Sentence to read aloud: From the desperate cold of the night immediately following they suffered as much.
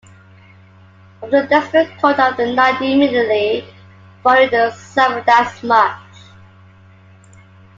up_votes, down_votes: 2, 1